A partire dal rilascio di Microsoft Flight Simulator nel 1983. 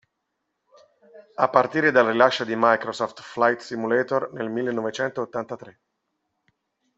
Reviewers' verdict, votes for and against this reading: rejected, 0, 2